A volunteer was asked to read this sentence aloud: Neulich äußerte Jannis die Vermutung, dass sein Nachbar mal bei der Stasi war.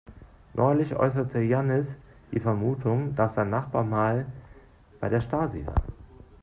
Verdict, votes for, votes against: accepted, 2, 0